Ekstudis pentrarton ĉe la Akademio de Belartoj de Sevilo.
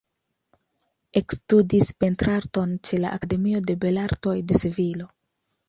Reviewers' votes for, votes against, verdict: 2, 0, accepted